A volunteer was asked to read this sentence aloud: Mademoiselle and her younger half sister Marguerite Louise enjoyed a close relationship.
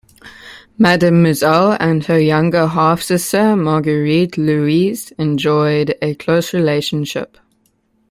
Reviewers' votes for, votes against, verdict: 2, 0, accepted